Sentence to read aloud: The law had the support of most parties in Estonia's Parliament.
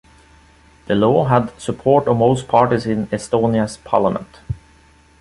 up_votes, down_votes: 2, 0